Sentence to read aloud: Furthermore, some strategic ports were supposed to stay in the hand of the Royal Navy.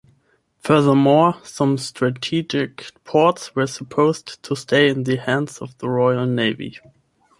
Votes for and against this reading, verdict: 0, 10, rejected